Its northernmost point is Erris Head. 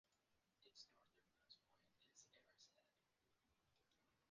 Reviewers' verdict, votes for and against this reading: rejected, 0, 2